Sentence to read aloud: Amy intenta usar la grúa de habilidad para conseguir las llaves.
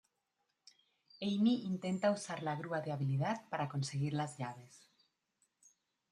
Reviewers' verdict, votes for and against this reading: rejected, 1, 2